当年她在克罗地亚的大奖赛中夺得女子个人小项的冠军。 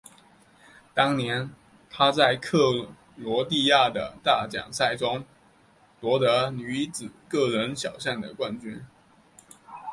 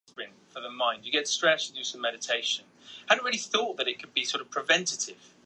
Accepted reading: first